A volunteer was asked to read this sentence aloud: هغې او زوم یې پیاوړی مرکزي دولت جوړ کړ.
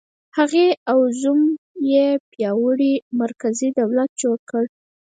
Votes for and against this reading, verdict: 2, 4, rejected